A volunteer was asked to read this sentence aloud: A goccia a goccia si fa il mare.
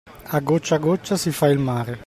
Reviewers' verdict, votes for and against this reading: accepted, 2, 0